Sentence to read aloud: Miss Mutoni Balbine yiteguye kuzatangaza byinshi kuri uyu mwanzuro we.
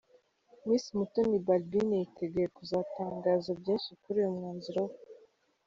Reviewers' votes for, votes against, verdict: 1, 2, rejected